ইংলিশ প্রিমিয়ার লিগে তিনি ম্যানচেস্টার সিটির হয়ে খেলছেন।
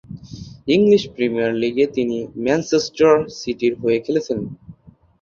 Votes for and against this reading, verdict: 2, 2, rejected